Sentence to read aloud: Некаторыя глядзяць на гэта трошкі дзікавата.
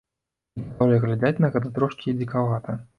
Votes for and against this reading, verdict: 1, 2, rejected